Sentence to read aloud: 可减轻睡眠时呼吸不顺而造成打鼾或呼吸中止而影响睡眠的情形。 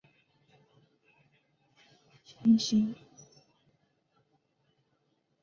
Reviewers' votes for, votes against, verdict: 0, 2, rejected